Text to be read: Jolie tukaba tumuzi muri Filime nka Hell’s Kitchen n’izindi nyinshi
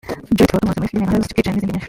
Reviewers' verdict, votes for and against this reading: rejected, 1, 2